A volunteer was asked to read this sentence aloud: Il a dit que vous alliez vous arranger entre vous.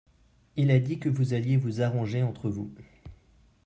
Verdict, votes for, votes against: accepted, 2, 1